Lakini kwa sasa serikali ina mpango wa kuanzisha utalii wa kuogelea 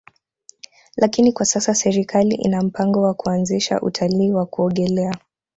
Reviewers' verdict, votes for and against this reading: accepted, 2, 0